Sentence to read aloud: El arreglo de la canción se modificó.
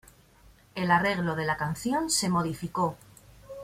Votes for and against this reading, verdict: 2, 0, accepted